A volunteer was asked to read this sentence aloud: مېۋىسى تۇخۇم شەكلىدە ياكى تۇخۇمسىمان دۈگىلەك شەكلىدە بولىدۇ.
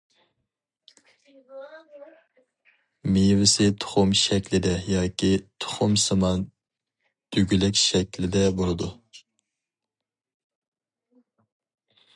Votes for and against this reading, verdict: 2, 0, accepted